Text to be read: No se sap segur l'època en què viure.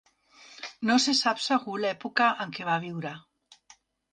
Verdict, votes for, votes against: rejected, 1, 2